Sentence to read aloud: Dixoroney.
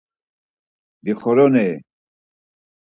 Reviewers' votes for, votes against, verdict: 4, 0, accepted